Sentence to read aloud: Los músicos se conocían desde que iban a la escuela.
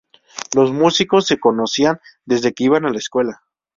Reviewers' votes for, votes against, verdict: 2, 0, accepted